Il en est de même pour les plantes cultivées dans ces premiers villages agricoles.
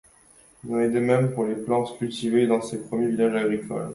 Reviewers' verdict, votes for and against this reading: rejected, 0, 2